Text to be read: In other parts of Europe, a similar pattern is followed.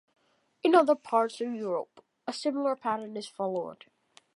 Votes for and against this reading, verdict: 2, 0, accepted